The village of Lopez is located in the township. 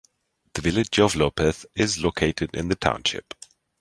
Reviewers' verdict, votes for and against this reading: accepted, 2, 0